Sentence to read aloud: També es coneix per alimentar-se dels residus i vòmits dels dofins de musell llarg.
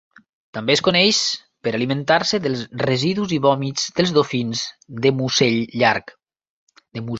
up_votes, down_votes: 1, 2